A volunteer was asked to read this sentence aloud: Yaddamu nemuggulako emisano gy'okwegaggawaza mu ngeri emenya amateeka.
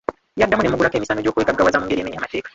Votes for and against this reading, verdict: 0, 3, rejected